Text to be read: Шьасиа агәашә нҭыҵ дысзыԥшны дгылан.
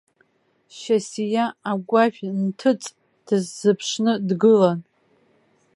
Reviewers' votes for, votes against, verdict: 2, 0, accepted